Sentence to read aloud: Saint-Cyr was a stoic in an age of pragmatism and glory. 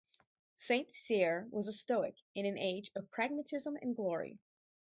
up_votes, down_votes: 2, 2